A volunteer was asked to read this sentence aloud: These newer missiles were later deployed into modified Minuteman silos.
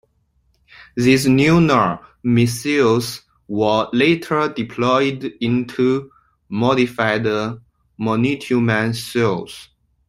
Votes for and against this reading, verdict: 1, 2, rejected